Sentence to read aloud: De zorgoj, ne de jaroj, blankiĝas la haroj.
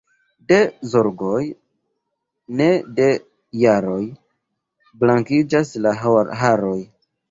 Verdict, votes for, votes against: rejected, 0, 2